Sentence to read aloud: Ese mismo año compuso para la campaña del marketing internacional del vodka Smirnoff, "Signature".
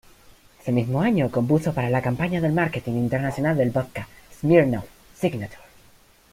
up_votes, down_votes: 1, 2